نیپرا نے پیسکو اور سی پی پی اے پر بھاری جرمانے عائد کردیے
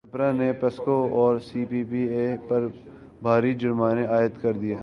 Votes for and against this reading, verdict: 1, 2, rejected